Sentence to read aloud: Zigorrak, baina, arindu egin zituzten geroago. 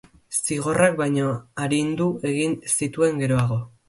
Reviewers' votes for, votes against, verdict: 0, 2, rejected